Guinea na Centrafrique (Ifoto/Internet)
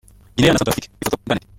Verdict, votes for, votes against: rejected, 0, 2